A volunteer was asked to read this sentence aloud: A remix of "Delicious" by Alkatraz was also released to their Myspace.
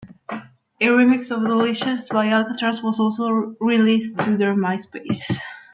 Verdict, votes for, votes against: rejected, 0, 2